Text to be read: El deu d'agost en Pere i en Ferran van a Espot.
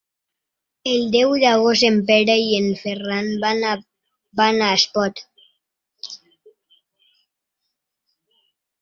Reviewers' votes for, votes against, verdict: 0, 2, rejected